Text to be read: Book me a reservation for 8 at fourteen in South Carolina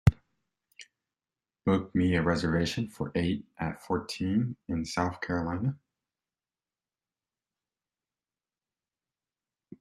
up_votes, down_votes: 0, 2